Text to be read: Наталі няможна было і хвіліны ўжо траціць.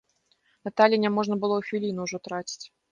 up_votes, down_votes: 2, 0